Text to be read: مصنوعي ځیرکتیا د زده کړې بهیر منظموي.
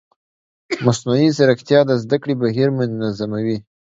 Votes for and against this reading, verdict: 1, 2, rejected